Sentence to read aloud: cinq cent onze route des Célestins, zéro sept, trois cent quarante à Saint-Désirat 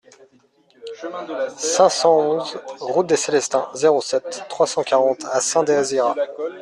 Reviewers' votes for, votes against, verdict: 0, 2, rejected